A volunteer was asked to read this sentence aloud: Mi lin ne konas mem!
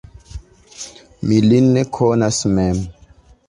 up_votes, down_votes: 2, 0